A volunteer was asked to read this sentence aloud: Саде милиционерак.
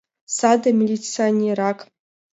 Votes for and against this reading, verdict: 2, 0, accepted